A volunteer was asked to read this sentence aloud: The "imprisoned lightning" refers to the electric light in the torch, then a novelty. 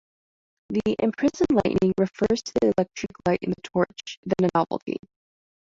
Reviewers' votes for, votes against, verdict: 2, 0, accepted